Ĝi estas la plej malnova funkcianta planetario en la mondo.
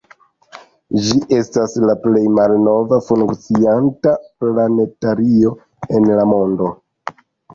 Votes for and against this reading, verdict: 0, 2, rejected